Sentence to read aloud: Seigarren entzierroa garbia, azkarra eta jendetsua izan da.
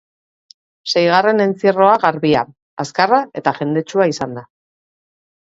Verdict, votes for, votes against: accepted, 2, 0